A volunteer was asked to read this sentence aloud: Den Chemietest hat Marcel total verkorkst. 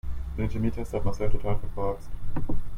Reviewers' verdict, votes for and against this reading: rejected, 1, 2